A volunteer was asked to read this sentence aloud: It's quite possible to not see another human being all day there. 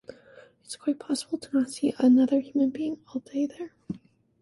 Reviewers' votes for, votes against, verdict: 2, 1, accepted